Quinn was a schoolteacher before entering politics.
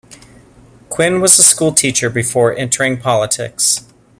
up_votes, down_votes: 2, 0